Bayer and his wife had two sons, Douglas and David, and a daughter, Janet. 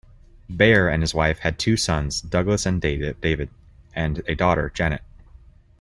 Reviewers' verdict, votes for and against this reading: rejected, 1, 2